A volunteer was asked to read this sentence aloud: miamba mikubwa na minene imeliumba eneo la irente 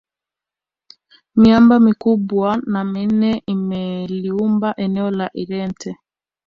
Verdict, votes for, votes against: rejected, 0, 2